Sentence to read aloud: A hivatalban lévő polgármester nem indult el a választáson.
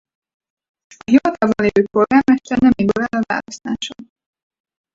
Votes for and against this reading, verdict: 0, 4, rejected